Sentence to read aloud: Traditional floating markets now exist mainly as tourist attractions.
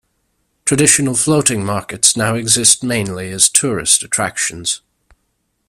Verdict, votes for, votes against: accepted, 2, 0